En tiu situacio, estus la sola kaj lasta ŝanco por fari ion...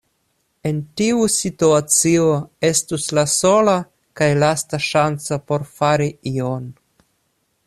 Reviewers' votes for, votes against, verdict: 2, 0, accepted